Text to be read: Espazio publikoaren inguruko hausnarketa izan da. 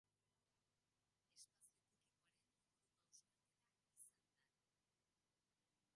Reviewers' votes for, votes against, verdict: 0, 3, rejected